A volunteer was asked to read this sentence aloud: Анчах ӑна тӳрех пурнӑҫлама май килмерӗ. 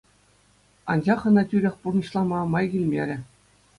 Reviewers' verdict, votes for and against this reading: accepted, 2, 0